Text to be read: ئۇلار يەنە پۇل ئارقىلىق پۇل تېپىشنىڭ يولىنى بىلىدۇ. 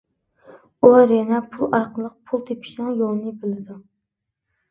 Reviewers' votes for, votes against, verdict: 2, 0, accepted